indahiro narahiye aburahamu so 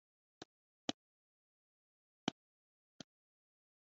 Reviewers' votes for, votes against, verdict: 0, 2, rejected